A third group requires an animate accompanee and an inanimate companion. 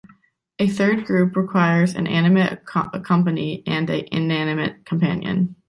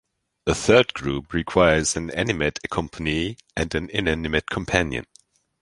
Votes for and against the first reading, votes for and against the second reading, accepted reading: 1, 2, 2, 0, second